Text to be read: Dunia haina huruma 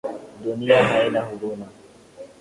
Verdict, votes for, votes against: accepted, 3, 0